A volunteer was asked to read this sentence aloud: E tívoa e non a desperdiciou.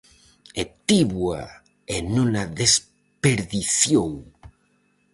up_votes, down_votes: 4, 0